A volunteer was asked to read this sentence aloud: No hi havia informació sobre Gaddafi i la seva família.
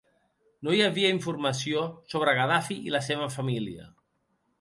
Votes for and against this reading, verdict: 2, 0, accepted